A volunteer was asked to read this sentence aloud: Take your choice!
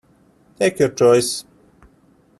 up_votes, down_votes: 2, 0